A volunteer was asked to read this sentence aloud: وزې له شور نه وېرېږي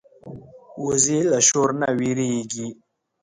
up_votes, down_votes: 2, 0